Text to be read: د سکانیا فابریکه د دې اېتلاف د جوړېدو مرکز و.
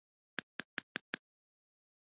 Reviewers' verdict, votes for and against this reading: rejected, 1, 2